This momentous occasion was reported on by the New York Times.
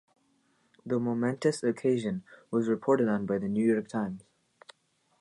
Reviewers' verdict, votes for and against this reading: rejected, 1, 2